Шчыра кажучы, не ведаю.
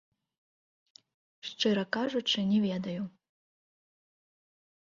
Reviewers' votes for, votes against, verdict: 0, 2, rejected